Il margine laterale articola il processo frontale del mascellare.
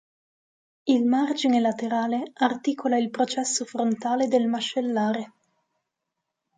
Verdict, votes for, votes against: accepted, 2, 0